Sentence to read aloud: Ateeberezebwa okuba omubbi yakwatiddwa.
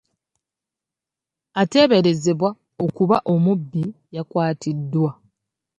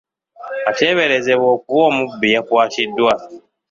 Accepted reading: first